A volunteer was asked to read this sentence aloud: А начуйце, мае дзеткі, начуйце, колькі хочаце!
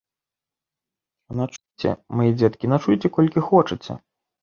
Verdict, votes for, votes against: rejected, 0, 2